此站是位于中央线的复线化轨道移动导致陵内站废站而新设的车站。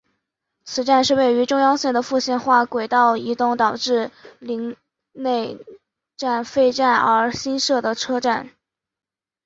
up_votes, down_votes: 6, 0